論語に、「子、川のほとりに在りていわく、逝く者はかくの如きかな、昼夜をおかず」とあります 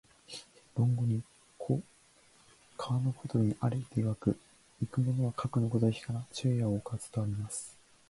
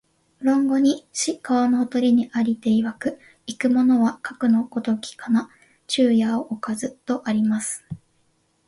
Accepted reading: second